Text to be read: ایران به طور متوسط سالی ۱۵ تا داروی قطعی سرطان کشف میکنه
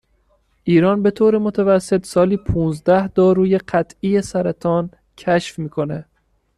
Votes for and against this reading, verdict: 0, 2, rejected